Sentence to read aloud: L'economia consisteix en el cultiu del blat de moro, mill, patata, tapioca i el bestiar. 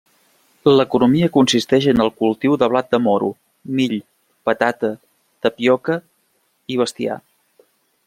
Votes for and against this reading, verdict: 1, 2, rejected